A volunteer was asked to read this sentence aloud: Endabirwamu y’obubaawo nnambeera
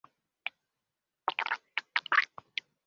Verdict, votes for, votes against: rejected, 0, 2